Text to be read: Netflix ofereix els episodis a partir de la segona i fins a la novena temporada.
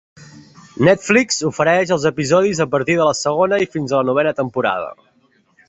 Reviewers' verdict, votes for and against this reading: accepted, 2, 0